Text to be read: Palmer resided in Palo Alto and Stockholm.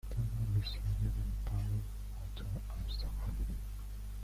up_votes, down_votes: 0, 2